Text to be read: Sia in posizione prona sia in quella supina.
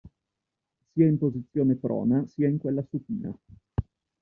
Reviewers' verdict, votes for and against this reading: accepted, 2, 0